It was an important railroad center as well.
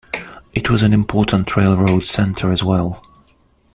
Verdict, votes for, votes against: accepted, 2, 1